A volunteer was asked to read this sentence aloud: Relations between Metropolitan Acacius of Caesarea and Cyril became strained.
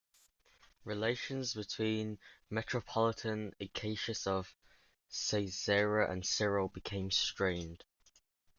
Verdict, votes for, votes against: accepted, 2, 0